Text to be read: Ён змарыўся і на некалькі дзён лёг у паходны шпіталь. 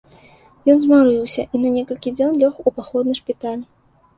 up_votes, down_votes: 2, 0